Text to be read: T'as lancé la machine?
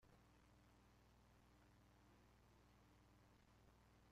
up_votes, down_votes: 0, 2